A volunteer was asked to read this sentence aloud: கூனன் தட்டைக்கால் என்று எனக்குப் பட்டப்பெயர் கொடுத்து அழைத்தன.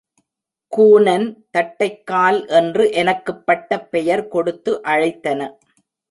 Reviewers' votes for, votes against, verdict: 4, 0, accepted